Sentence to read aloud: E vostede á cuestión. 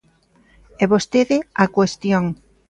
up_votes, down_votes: 2, 0